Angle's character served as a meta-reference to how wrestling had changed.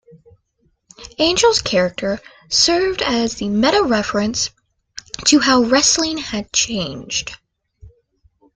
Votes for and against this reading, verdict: 1, 2, rejected